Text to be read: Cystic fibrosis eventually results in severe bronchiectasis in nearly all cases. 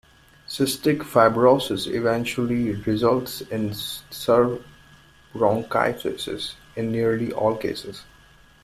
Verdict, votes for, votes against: rejected, 0, 2